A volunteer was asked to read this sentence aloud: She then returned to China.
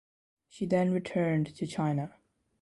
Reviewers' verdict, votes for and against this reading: accepted, 2, 0